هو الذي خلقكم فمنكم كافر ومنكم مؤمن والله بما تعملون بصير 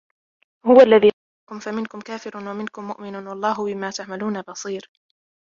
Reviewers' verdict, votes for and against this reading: rejected, 0, 2